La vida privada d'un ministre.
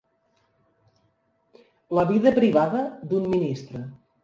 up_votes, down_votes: 3, 0